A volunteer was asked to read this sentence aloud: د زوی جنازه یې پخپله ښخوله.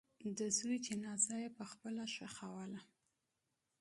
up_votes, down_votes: 2, 0